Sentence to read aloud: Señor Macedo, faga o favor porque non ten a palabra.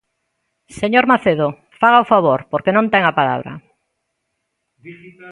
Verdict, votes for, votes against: rejected, 1, 2